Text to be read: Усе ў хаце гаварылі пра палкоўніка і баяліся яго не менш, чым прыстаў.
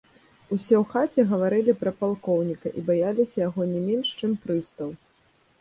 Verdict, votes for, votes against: accepted, 2, 0